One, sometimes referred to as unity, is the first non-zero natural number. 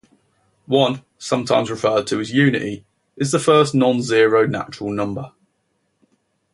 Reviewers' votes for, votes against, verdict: 2, 0, accepted